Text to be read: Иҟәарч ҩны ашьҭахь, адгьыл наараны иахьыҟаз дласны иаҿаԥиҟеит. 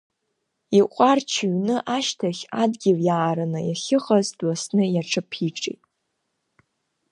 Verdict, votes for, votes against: rejected, 1, 2